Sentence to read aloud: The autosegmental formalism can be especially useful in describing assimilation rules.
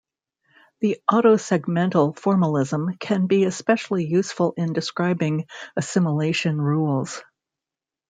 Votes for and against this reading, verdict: 2, 0, accepted